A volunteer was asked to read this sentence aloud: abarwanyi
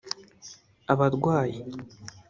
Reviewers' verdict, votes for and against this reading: rejected, 1, 2